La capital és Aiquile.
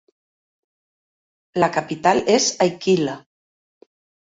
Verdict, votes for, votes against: accepted, 2, 0